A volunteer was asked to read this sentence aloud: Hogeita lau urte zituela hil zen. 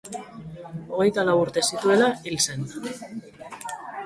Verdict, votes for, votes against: accepted, 3, 0